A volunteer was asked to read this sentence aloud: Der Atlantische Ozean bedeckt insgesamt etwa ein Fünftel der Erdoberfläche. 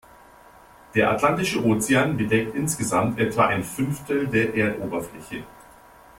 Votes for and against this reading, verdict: 2, 0, accepted